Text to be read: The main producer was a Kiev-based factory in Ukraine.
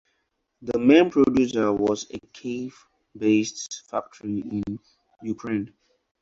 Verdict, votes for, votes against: accepted, 4, 2